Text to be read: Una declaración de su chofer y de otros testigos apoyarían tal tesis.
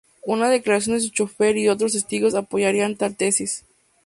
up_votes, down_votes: 2, 2